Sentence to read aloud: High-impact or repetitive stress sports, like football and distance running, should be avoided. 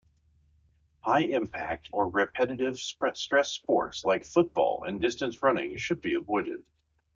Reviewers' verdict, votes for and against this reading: rejected, 0, 2